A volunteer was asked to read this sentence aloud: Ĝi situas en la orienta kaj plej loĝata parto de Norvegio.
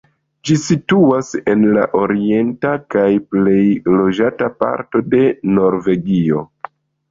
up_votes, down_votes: 2, 1